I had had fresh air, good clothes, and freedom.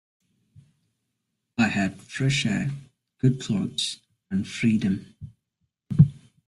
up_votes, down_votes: 0, 2